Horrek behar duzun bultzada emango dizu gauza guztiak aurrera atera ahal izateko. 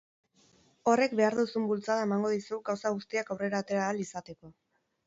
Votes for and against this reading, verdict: 2, 2, rejected